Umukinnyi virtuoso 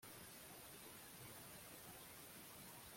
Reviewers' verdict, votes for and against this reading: rejected, 0, 3